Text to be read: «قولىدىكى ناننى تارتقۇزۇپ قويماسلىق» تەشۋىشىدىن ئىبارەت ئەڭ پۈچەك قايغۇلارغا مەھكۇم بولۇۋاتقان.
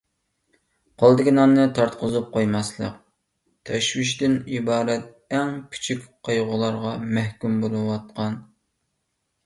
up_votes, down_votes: 1, 2